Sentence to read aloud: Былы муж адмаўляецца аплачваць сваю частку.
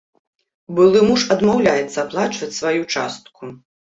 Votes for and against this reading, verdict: 2, 0, accepted